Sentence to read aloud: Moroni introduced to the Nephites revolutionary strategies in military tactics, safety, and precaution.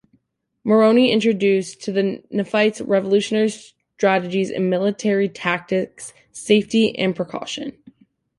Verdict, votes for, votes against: accepted, 2, 0